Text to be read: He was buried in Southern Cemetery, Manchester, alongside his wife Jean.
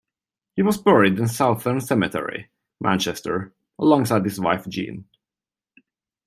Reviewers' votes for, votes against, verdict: 1, 2, rejected